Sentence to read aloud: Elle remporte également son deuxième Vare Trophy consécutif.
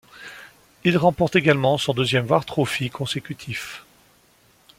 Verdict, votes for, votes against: rejected, 0, 2